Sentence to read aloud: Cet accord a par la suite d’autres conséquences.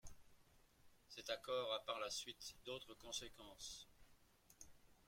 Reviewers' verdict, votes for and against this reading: rejected, 0, 2